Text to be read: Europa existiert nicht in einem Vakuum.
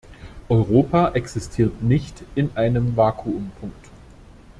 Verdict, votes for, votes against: rejected, 0, 2